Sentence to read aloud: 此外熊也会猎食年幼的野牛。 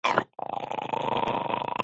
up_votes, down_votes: 0, 4